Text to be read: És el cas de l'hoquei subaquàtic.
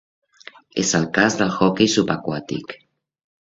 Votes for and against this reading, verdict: 2, 0, accepted